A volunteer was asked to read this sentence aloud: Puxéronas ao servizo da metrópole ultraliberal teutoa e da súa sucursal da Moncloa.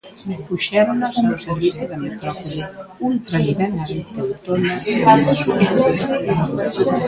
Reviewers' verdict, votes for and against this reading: rejected, 0, 2